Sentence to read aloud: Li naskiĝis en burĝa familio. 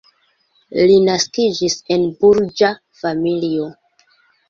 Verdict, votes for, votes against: accepted, 2, 1